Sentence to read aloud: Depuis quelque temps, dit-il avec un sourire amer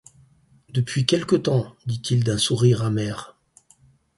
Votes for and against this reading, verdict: 0, 4, rejected